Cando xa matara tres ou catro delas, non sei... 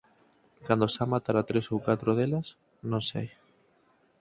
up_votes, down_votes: 4, 0